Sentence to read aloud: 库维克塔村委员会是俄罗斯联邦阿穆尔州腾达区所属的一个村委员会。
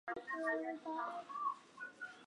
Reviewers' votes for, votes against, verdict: 0, 3, rejected